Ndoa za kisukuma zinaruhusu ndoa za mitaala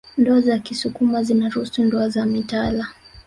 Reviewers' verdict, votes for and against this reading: rejected, 1, 2